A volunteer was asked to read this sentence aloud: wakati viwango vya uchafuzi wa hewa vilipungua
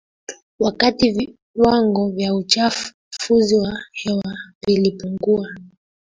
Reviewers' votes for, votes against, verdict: 0, 2, rejected